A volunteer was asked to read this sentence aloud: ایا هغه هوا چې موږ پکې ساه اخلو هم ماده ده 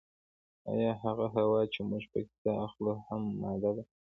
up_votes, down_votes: 2, 0